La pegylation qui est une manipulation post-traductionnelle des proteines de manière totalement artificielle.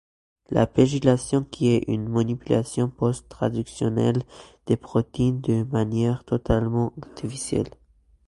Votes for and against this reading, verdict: 0, 2, rejected